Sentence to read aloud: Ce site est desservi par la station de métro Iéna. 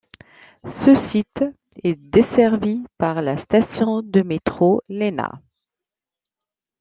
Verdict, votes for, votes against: rejected, 1, 2